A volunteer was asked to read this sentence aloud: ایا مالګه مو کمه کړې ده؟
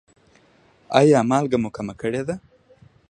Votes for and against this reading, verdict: 2, 0, accepted